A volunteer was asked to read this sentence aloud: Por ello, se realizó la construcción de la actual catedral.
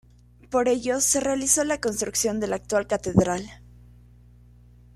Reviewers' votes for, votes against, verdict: 2, 0, accepted